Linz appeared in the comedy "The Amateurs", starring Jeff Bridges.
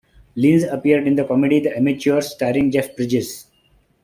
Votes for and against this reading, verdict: 1, 2, rejected